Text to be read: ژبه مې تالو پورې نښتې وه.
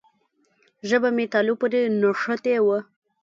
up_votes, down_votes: 2, 0